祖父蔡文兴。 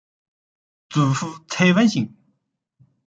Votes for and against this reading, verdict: 0, 2, rejected